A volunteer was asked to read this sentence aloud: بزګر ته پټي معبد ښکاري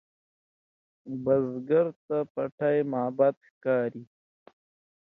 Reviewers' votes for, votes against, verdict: 2, 0, accepted